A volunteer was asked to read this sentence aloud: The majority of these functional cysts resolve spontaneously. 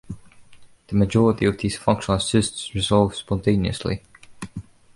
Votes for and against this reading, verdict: 1, 2, rejected